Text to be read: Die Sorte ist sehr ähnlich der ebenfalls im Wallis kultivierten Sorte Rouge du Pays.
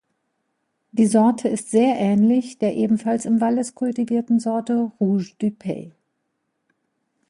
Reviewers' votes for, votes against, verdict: 2, 0, accepted